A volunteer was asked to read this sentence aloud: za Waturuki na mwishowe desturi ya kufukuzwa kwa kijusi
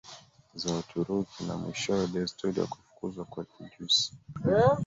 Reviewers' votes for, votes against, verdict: 1, 2, rejected